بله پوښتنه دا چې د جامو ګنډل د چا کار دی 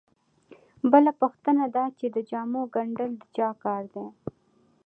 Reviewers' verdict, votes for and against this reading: accepted, 2, 1